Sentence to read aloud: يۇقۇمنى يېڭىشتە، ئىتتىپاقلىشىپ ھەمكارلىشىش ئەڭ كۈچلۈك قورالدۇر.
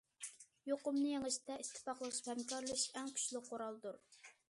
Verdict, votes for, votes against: accepted, 2, 1